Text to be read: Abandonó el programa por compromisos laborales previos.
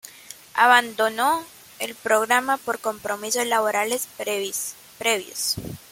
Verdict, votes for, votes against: rejected, 1, 2